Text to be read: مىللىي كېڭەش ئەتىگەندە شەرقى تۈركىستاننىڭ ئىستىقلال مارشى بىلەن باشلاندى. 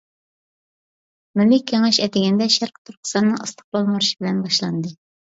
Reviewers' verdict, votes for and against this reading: rejected, 0, 2